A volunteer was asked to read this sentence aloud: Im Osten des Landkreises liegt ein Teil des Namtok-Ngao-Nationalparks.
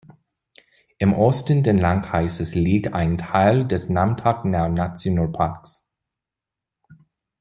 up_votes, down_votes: 1, 2